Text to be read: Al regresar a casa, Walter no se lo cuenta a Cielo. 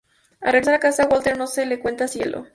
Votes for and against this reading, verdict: 0, 2, rejected